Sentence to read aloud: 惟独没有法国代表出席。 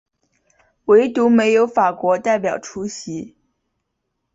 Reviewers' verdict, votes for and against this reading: accepted, 2, 0